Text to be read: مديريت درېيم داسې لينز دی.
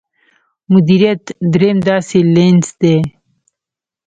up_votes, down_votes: 0, 2